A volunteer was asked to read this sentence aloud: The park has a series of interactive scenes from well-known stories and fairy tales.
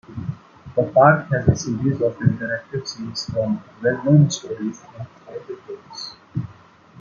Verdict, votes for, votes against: rejected, 1, 2